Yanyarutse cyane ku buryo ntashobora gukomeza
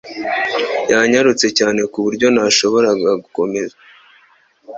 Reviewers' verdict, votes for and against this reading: accepted, 2, 1